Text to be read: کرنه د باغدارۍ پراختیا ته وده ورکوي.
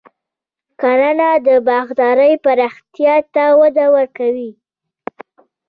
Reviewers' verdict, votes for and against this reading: accepted, 2, 0